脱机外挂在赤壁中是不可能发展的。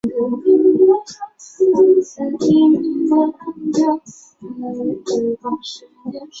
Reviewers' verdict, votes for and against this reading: rejected, 0, 3